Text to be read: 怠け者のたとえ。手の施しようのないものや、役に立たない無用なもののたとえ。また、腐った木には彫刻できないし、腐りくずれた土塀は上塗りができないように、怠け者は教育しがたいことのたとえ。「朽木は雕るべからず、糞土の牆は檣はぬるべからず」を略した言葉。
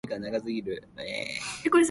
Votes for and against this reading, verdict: 0, 2, rejected